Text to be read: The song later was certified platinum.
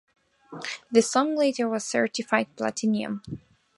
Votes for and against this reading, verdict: 2, 0, accepted